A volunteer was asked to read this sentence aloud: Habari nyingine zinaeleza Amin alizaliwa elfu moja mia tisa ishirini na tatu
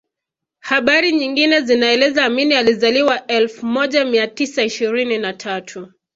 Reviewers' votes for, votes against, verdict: 2, 0, accepted